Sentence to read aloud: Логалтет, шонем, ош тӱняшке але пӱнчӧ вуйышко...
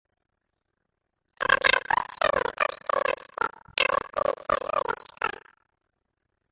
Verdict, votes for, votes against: rejected, 0, 2